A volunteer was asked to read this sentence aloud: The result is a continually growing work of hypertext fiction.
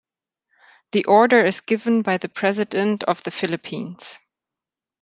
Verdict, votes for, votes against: rejected, 0, 2